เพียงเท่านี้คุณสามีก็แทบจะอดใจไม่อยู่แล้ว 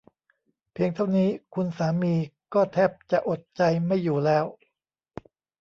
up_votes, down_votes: 2, 0